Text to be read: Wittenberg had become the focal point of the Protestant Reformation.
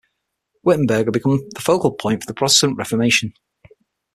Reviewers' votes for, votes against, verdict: 6, 3, accepted